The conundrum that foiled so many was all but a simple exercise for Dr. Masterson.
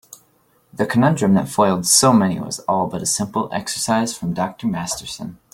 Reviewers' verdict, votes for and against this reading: accepted, 2, 0